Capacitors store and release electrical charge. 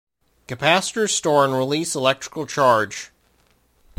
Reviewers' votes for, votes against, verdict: 0, 2, rejected